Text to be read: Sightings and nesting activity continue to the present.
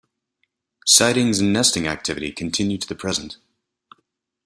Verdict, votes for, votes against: accepted, 2, 0